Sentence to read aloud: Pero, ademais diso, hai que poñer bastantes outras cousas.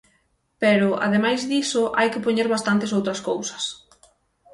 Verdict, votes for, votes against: rejected, 3, 3